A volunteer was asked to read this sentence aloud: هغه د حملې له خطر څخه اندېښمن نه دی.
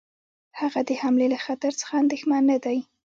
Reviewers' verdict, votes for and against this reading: accepted, 2, 0